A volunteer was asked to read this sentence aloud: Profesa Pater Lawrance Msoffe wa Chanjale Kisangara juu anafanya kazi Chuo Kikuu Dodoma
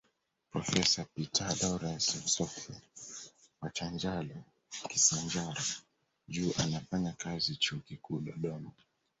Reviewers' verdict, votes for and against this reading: rejected, 0, 2